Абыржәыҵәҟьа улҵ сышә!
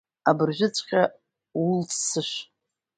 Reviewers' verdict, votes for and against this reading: accepted, 2, 0